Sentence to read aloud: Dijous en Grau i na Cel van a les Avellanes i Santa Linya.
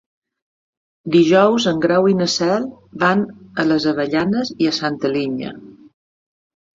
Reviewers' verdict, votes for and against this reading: rejected, 1, 2